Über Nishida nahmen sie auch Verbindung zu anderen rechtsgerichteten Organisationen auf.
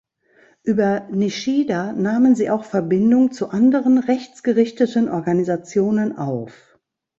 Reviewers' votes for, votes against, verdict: 2, 0, accepted